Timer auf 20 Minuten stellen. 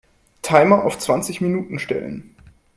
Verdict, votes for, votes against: rejected, 0, 2